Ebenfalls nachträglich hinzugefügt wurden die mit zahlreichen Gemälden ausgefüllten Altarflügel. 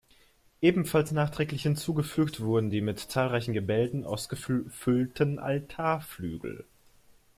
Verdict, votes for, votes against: rejected, 0, 2